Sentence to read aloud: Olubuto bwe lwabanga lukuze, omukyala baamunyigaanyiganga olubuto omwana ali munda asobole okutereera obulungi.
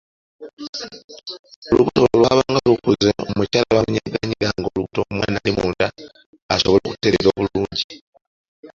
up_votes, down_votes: 0, 2